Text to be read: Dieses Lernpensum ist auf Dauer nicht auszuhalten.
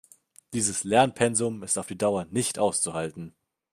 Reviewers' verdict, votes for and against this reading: rejected, 1, 2